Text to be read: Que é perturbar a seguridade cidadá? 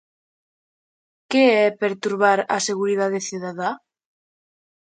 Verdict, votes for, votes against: accepted, 2, 0